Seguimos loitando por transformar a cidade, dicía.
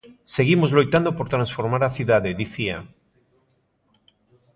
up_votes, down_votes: 2, 0